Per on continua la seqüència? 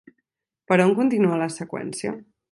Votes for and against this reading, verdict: 4, 0, accepted